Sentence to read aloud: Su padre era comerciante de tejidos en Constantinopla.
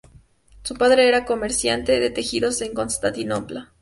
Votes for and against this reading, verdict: 0, 2, rejected